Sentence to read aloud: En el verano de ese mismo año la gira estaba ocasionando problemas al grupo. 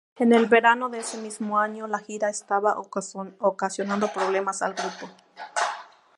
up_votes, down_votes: 0, 2